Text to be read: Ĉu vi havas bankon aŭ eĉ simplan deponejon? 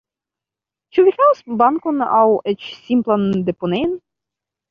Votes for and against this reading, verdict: 1, 2, rejected